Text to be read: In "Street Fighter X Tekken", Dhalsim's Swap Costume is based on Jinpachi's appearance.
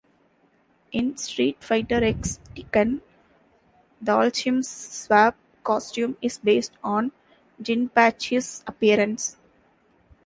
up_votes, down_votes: 1, 3